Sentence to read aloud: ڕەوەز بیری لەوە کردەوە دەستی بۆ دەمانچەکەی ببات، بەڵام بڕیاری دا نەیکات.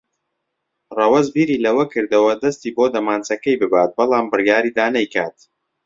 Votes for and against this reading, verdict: 2, 0, accepted